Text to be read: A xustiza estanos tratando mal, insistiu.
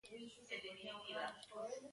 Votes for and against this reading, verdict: 0, 2, rejected